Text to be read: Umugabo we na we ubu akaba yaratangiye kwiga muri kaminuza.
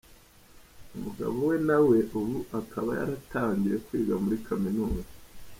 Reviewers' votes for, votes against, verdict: 2, 1, accepted